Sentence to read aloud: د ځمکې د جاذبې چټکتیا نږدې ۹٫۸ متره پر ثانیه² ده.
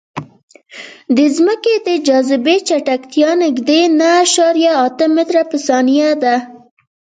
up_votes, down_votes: 0, 2